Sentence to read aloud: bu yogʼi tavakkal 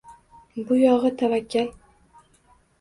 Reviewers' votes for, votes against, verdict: 1, 2, rejected